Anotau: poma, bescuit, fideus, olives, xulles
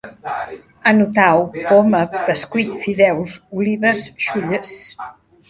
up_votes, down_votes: 0, 2